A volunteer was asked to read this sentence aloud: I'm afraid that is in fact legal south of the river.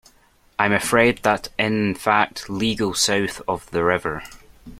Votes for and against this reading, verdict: 1, 2, rejected